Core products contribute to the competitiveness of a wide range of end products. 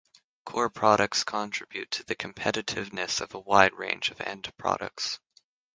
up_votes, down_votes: 3, 6